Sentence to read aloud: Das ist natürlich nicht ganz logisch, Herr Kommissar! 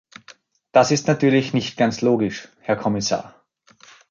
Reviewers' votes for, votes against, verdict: 2, 0, accepted